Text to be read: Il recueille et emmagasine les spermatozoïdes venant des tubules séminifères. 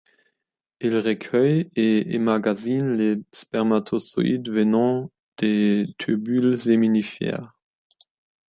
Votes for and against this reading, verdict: 2, 1, accepted